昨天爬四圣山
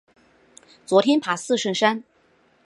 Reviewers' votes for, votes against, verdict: 2, 0, accepted